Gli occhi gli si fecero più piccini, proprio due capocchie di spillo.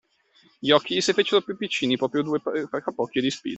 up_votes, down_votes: 0, 2